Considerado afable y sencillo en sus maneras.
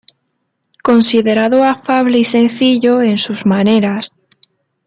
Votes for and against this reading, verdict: 0, 2, rejected